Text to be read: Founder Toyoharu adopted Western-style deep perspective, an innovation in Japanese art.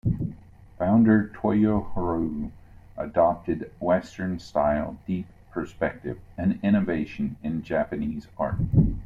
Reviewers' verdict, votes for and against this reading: rejected, 1, 2